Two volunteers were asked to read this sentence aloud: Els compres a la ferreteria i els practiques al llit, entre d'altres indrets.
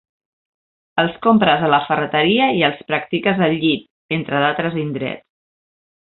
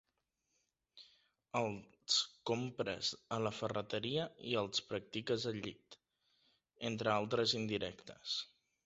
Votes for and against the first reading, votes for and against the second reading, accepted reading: 2, 0, 1, 2, first